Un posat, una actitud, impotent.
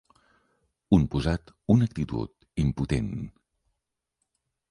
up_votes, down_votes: 6, 0